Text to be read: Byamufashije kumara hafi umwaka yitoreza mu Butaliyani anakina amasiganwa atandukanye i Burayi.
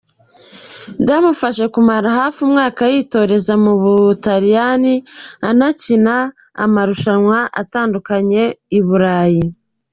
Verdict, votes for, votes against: rejected, 0, 2